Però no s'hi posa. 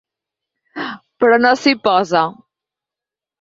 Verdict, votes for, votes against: accepted, 8, 0